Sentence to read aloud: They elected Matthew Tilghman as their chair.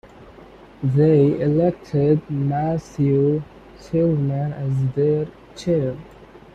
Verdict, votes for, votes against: rejected, 0, 2